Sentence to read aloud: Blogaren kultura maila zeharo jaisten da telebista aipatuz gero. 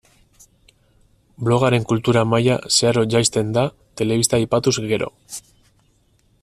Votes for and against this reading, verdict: 4, 0, accepted